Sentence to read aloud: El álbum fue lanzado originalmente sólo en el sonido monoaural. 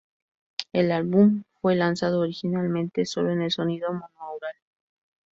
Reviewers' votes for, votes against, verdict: 4, 0, accepted